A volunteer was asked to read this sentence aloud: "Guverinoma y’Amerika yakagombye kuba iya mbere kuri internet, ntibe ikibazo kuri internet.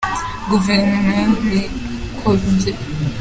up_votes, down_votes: 0, 4